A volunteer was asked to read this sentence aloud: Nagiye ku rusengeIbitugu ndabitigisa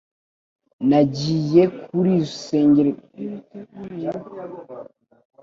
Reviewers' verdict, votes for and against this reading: rejected, 1, 2